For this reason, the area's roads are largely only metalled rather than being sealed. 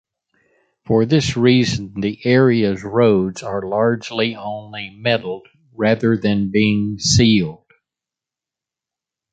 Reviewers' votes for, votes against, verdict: 2, 0, accepted